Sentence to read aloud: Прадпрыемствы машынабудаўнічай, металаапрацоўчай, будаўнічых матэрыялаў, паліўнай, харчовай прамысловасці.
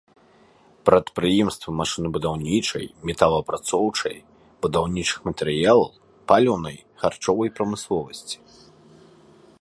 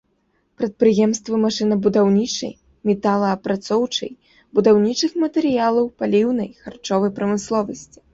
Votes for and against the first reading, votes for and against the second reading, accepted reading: 2, 0, 1, 2, first